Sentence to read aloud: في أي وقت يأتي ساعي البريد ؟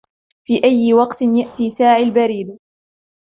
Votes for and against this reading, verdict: 0, 2, rejected